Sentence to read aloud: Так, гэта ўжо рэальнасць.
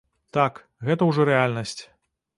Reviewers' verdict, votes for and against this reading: accepted, 2, 0